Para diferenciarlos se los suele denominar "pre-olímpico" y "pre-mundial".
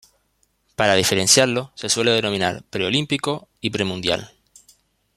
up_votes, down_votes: 1, 2